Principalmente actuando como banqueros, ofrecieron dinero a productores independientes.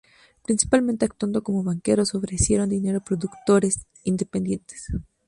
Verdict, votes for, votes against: accepted, 2, 0